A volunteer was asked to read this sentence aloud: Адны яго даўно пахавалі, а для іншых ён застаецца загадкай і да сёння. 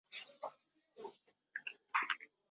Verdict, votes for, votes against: rejected, 0, 2